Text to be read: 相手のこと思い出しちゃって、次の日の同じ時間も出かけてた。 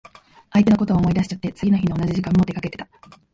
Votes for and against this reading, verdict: 2, 0, accepted